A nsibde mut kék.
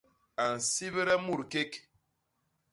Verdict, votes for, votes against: accepted, 2, 0